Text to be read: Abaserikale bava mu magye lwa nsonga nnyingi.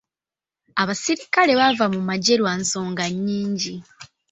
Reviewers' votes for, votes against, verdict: 1, 2, rejected